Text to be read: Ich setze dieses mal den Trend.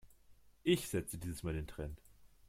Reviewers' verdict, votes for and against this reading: accepted, 2, 0